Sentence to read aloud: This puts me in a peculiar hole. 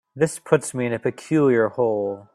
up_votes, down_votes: 3, 0